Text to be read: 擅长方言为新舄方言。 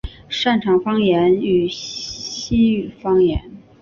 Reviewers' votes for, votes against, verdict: 2, 3, rejected